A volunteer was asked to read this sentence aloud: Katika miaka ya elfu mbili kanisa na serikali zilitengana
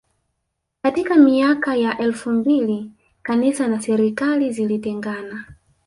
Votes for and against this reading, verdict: 4, 1, accepted